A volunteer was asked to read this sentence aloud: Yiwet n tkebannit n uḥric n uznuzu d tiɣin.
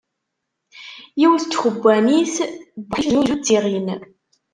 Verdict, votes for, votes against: rejected, 0, 2